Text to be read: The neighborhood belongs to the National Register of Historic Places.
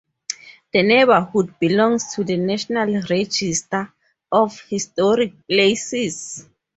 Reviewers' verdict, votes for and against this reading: accepted, 4, 0